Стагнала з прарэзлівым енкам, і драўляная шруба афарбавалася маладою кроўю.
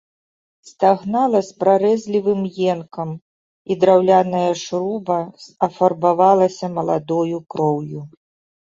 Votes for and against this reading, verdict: 2, 0, accepted